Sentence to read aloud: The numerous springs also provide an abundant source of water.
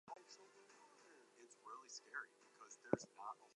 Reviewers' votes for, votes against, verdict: 0, 2, rejected